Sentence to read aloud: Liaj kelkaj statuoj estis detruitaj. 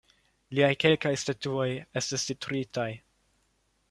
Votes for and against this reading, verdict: 2, 0, accepted